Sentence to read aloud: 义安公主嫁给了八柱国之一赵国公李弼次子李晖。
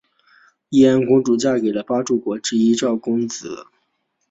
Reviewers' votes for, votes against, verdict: 0, 2, rejected